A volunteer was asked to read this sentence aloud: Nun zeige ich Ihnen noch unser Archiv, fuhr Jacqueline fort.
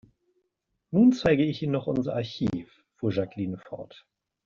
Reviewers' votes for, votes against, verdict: 1, 2, rejected